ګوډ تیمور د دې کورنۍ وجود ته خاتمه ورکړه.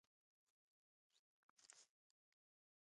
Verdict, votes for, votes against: rejected, 1, 2